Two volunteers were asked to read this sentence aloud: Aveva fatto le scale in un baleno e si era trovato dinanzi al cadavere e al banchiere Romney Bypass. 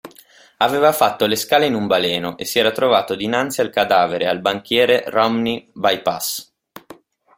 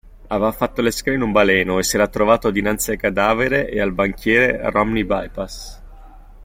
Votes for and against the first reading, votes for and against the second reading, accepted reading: 2, 0, 1, 2, first